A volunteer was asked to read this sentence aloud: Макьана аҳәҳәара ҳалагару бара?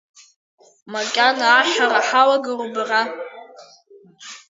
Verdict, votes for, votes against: accepted, 3, 1